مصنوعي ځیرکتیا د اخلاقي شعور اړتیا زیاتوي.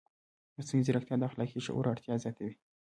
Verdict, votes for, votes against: rejected, 0, 2